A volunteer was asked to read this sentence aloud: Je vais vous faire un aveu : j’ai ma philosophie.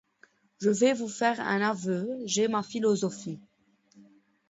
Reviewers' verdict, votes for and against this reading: accepted, 2, 0